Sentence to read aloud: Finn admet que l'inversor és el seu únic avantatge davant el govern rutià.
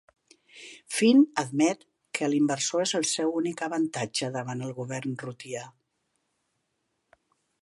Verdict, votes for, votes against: accepted, 2, 0